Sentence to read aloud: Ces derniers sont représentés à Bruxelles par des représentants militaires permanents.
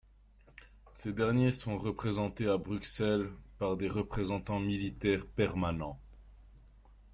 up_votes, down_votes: 2, 0